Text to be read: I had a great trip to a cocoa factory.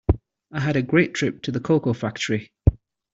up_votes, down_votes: 0, 2